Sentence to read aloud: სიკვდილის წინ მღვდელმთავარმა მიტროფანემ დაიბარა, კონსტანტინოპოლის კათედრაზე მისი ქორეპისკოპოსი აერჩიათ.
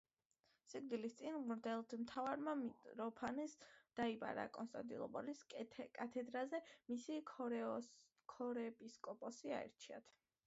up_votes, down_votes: 2, 0